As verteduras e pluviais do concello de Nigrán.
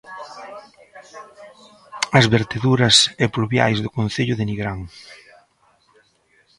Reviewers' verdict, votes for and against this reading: rejected, 1, 2